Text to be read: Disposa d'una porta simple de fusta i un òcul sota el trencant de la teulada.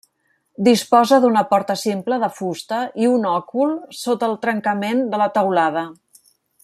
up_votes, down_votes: 0, 2